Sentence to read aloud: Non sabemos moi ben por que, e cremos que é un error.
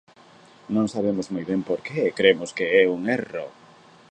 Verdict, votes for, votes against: rejected, 0, 2